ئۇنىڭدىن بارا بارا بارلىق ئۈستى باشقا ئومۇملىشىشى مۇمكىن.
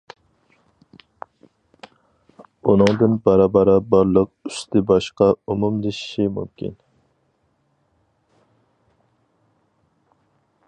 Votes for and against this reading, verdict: 4, 0, accepted